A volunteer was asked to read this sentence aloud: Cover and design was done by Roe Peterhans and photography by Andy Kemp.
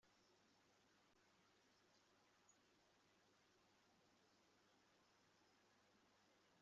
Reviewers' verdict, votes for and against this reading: rejected, 0, 2